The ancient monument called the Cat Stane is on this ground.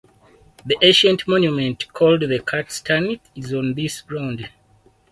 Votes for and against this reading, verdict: 4, 2, accepted